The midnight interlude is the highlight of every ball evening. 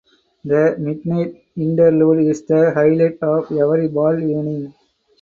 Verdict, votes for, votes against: rejected, 0, 4